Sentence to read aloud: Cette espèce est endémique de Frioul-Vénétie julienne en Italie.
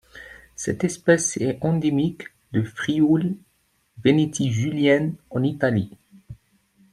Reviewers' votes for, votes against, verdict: 1, 2, rejected